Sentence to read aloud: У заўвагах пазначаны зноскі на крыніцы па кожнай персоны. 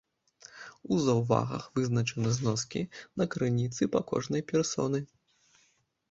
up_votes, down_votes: 0, 2